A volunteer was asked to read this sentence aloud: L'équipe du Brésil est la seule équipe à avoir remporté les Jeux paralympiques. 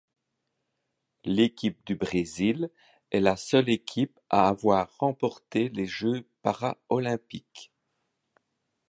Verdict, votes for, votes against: rejected, 1, 2